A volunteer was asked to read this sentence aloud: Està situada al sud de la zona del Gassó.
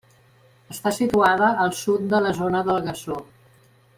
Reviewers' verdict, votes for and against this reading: accepted, 3, 0